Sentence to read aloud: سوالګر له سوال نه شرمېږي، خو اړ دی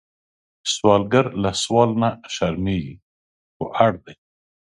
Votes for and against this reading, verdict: 1, 2, rejected